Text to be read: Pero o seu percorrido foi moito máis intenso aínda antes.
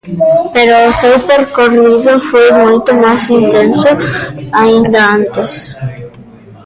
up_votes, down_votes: 0, 2